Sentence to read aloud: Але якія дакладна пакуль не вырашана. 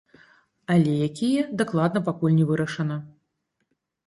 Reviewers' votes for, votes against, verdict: 1, 2, rejected